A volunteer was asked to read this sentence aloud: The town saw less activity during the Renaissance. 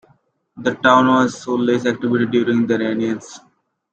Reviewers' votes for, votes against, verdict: 1, 2, rejected